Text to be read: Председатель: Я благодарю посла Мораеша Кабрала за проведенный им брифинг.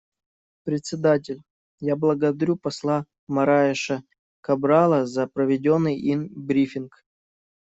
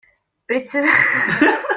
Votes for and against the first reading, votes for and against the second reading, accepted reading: 2, 0, 0, 2, first